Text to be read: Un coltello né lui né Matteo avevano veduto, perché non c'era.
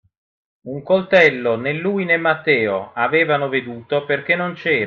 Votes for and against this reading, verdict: 0, 2, rejected